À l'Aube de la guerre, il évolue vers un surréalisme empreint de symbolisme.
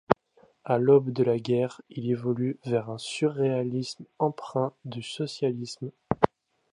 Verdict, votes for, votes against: rejected, 0, 2